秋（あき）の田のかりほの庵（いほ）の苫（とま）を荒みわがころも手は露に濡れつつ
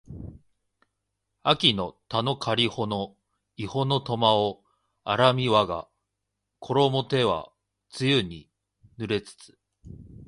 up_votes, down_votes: 3, 1